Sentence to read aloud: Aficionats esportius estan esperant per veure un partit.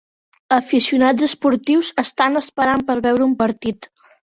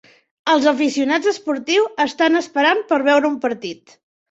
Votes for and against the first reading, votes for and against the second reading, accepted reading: 4, 0, 1, 2, first